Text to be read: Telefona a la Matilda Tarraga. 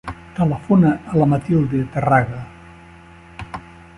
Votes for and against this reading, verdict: 0, 2, rejected